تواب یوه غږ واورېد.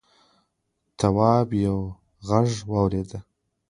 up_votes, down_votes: 0, 2